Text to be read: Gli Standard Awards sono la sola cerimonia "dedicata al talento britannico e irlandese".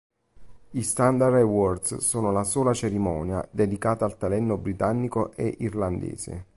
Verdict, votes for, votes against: rejected, 0, 2